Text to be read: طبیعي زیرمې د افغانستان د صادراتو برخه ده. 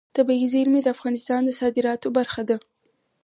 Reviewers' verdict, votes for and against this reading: accepted, 4, 0